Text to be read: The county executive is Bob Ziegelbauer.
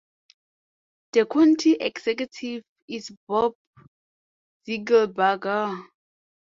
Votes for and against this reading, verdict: 0, 2, rejected